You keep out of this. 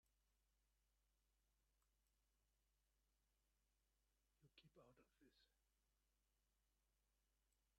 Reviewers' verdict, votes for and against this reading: rejected, 0, 2